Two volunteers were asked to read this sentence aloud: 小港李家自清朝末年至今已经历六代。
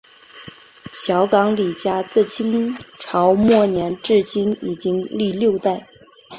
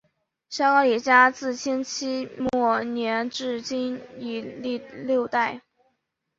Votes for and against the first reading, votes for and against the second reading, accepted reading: 4, 3, 1, 2, first